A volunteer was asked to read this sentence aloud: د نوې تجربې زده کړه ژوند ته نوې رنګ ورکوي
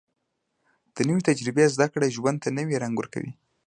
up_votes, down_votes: 2, 0